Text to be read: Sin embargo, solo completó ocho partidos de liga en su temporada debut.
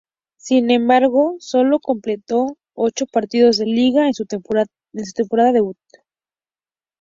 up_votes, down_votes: 0, 2